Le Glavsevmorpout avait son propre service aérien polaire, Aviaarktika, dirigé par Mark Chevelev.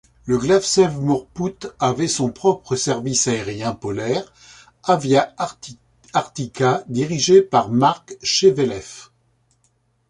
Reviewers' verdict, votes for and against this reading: rejected, 1, 2